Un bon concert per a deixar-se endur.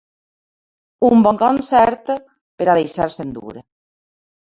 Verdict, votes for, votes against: rejected, 1, 3